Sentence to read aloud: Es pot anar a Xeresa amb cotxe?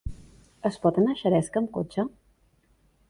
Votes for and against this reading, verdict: 0, 2, rejected